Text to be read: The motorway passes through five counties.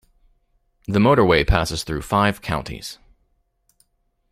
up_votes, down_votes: 2, 0